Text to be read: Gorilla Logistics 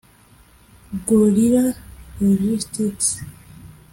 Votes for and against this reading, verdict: 1, 2, rejected